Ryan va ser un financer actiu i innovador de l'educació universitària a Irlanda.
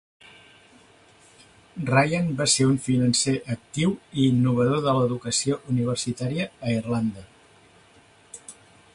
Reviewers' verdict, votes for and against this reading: accepted, 3, 0